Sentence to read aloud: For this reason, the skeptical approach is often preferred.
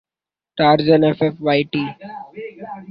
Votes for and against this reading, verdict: 0, 2, rejected